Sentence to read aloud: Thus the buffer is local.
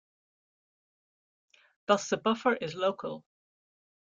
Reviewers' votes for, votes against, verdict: 2, 0, accepted